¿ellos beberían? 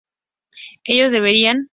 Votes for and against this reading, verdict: 2, 0, accepted